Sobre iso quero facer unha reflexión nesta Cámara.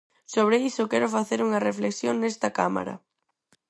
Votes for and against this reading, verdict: 4, 0, accepted